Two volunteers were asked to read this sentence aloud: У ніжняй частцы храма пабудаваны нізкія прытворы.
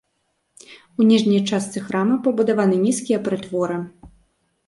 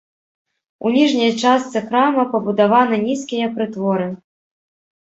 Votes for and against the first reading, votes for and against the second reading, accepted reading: 2, 0, 0, 2, first